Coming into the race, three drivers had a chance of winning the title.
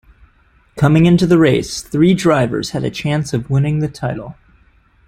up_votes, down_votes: 2, 0